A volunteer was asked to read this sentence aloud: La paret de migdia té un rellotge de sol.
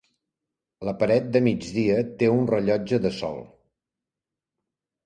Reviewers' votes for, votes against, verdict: 3, 0, accepted